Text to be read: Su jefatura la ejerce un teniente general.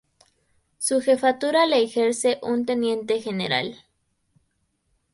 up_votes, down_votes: 2, 0